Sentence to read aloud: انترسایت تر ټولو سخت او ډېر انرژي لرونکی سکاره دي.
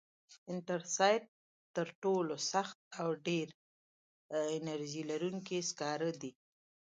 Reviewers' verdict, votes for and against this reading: accepted, 2, 0